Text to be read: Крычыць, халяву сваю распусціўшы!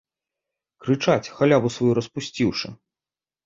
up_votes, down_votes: 0, 2